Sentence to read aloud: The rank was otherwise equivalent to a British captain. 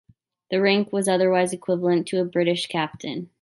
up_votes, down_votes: 2, 0